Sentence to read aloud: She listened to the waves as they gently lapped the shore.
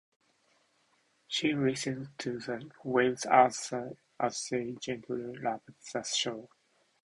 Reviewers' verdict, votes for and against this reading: accepted, 2, 0